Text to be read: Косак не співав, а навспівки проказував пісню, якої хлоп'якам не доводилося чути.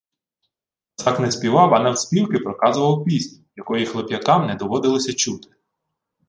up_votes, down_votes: 2, 0